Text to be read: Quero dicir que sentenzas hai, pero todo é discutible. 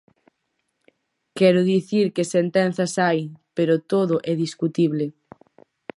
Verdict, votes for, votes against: accepted, 4, 0